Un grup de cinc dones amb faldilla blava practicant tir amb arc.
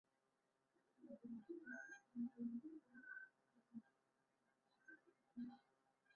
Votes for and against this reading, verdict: 0, 2, rejected